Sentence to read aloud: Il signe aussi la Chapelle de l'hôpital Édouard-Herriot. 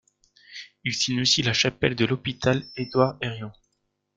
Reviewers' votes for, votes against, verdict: 1, 2, rejected